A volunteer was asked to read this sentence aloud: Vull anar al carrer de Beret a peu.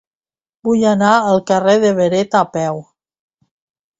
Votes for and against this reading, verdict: 2, 0, accepted